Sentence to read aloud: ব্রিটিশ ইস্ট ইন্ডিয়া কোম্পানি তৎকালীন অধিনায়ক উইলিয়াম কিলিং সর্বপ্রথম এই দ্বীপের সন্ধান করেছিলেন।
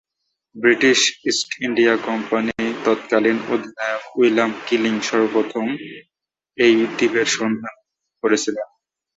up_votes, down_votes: 0, 3